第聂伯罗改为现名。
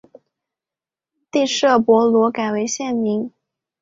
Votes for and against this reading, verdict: 2, 1, accepted